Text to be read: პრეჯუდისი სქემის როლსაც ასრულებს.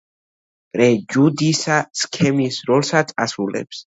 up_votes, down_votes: 1, 2